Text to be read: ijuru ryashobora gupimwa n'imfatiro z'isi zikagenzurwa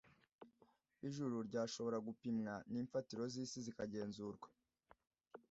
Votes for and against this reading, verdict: 2, 0, accepted